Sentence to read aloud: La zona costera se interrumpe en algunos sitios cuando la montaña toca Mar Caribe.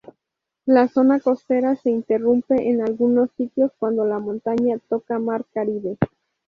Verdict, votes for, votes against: accepted, 2, 0